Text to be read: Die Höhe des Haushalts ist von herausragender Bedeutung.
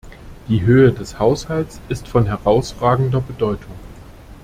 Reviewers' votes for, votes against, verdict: 2, 0, accepted